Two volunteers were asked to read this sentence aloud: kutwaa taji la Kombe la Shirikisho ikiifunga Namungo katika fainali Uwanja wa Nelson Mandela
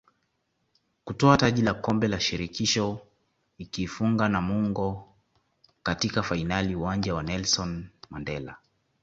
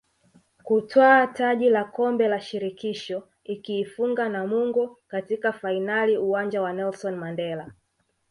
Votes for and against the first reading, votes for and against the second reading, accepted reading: 2, 1, 1, 2, first